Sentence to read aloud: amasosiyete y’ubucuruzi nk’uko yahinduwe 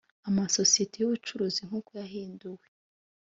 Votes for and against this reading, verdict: 2, 0, accepted